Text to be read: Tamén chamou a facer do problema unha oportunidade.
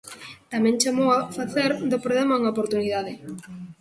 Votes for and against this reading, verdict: 0, 2, rejected